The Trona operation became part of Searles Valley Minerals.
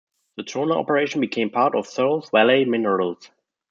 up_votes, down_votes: 0, 2